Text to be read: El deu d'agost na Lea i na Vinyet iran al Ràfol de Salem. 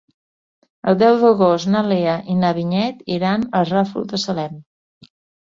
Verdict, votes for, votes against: accepted, 5, 0